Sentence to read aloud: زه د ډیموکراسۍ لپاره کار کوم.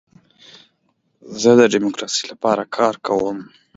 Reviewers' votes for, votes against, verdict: 2, 0, accepted